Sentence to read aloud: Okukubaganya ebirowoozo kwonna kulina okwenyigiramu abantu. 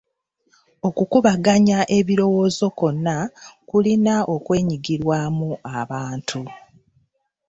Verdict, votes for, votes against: rejected, 0, 2